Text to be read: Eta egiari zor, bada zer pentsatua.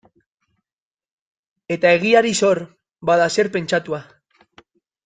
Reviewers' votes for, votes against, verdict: 0, 2, rejected